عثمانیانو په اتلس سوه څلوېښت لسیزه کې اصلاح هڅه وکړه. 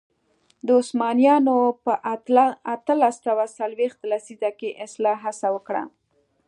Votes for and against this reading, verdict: 2, 0, accepted